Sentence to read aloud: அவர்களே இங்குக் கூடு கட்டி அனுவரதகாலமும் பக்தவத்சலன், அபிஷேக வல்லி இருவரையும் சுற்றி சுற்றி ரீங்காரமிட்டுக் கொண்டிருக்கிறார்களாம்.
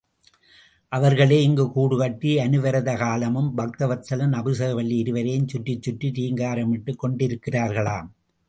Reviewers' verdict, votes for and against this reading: accepted, 2, 0